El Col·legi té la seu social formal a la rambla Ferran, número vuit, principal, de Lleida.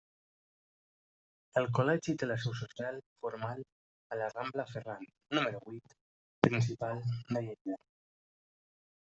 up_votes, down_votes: 1, 2